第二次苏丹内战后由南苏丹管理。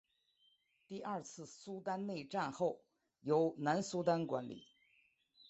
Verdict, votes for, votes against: rejected, 0, 3